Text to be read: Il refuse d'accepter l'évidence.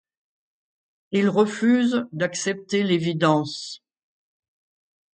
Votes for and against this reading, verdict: 2, 0, accepted